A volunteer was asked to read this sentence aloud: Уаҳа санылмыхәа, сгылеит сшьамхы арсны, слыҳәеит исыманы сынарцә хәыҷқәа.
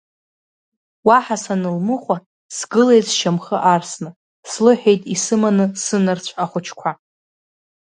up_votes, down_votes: 1, 2